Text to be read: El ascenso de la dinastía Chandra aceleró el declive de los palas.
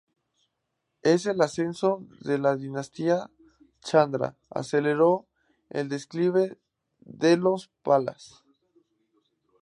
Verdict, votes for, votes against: accepted, 2, 0